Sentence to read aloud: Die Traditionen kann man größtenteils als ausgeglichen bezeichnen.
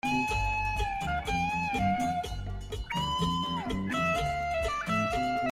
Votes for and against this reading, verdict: 0, 2, rejected